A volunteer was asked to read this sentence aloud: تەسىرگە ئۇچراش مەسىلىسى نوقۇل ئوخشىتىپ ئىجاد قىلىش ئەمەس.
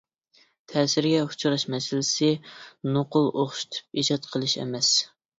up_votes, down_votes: 2, 0